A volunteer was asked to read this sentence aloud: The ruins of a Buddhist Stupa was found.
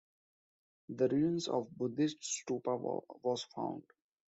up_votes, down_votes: 0, 2